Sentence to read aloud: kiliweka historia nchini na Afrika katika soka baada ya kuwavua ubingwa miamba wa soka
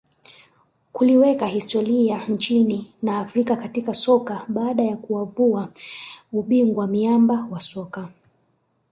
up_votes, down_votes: 1, 2